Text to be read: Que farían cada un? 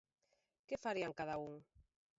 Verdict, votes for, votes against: accepted, 2, 0